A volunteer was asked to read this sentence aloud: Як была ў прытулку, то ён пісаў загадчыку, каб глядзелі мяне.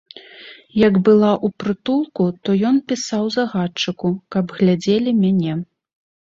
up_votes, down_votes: 1, 2